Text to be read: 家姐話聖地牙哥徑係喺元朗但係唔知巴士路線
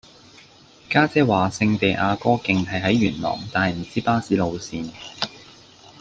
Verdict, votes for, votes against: accepted, 2, 1